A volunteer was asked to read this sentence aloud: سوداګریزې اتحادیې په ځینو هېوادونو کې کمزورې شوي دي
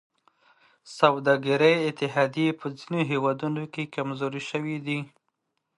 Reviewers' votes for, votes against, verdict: 2, 1, accepted